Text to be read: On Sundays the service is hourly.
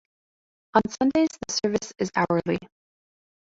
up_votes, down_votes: 2, 1